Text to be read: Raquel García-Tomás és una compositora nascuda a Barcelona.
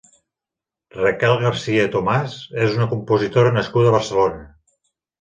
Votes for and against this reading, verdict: 3, 0, accepted